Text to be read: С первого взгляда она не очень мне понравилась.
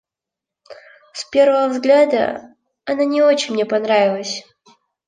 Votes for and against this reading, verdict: 2, 0, accepted